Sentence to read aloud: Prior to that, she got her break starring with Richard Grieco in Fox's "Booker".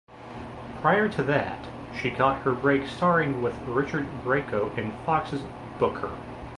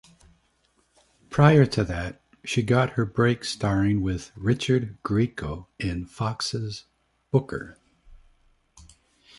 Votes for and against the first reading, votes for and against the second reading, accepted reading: 1, 2, 2, 0, second